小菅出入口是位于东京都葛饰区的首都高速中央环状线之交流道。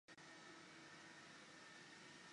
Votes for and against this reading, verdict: 0, 2, rejected